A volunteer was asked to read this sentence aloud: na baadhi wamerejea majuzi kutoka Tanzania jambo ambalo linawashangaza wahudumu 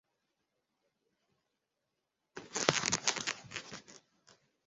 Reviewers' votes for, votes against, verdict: 0, 2, rejected